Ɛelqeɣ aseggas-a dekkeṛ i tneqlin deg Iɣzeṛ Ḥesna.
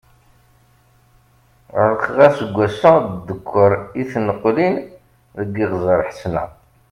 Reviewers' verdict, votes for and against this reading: accepted, 2, 0